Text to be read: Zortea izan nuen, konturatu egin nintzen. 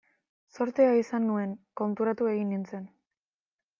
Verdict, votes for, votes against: accepted, 2, 0